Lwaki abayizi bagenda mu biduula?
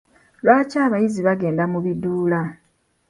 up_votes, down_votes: 2, 0